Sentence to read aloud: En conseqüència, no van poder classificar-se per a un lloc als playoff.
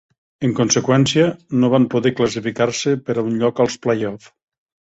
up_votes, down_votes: 4, 0